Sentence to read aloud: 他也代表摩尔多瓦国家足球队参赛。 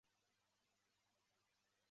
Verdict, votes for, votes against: rejected, 0, 2